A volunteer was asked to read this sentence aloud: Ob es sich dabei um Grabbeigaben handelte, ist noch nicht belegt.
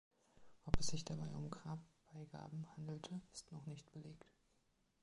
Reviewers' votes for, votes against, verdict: 2, 0, accepted